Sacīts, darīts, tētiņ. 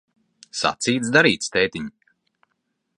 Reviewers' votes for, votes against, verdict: 2, 0, accepted